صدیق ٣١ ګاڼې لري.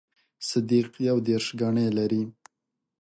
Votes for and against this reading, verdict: 0, 2, rejected